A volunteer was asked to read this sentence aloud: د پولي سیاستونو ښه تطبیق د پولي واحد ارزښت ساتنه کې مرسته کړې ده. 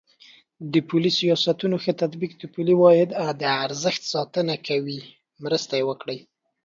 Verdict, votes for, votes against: accepted, 2, 1